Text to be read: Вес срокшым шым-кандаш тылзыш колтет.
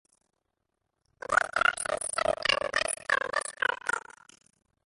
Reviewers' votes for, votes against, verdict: 0, 2, rejected